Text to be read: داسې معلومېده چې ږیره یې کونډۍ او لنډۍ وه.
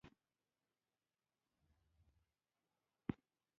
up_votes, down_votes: 0, 2